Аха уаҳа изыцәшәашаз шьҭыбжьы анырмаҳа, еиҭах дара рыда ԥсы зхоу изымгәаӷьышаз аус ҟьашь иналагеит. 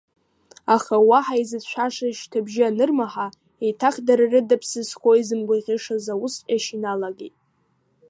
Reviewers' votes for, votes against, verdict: 1, 2, rejected